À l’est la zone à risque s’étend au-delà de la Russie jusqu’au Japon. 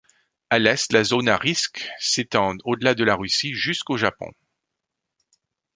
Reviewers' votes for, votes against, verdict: 1, 2, rejected